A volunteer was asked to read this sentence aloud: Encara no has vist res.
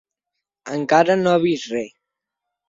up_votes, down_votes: 1, 2